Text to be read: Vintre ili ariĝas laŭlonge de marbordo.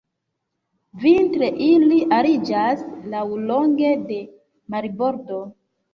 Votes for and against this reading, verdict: 2, 0, accepted